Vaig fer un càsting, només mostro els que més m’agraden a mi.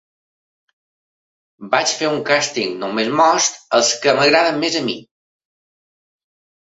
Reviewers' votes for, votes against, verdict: 0, 2, rejected